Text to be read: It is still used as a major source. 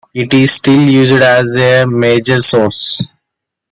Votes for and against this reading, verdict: 0, 2, rejected